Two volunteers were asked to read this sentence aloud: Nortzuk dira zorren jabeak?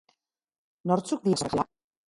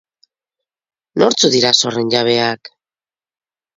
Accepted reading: second